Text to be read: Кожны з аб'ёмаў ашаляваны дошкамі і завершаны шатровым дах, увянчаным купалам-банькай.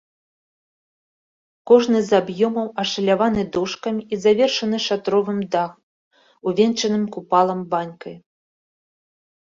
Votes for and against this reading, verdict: 2, 3, rejected